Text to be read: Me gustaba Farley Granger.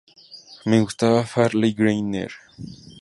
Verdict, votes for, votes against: accepted, 2, 0